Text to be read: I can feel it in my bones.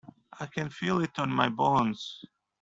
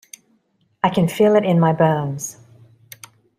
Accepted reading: second